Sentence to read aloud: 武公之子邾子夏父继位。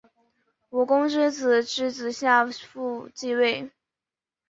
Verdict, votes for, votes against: accepted, 2, 0